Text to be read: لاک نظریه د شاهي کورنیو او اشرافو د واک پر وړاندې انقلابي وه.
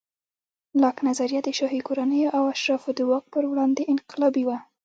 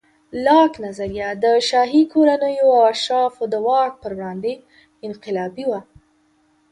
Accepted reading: second